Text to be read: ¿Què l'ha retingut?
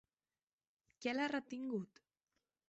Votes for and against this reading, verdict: 2, 1, accepted